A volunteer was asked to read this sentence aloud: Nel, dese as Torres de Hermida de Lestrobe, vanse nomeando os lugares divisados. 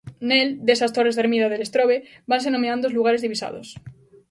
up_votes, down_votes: 1, 2